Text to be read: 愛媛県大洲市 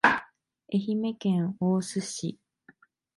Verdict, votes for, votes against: accepted, 2, 0